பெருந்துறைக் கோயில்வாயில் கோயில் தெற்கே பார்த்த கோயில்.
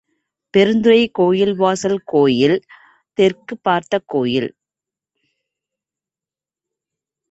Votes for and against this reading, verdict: 1, 2, rejected